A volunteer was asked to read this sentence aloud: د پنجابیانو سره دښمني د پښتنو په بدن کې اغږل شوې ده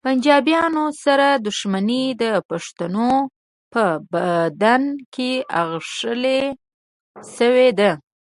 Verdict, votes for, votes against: rejected, 1, 2